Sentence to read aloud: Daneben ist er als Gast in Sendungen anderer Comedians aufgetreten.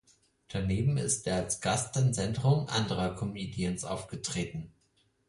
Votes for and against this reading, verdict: 2, 4, rejected